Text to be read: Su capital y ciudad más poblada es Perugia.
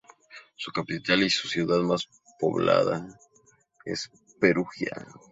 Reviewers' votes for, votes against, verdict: 2, 2, rejected